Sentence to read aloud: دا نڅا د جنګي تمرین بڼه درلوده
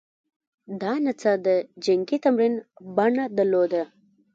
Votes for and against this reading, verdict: 1, 2, rejected